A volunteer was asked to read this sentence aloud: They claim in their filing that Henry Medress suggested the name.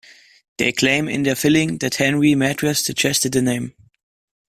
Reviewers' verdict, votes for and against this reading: rejected, 0, 2